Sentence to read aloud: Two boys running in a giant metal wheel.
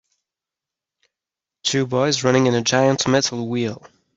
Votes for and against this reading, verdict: 2, 0, accepted